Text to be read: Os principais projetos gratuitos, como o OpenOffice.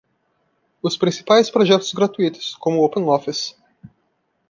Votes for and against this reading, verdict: 2, 0, accepted